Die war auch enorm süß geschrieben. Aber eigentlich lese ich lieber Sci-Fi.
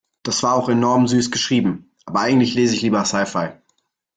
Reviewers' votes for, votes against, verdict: 2, 0, accepted